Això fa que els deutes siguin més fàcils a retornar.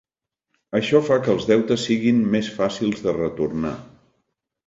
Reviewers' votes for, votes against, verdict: 1, 2, rejected